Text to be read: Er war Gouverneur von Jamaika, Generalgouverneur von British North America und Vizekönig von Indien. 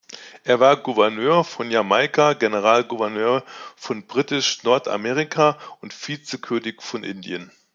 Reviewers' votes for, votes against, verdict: 1, 2, rejected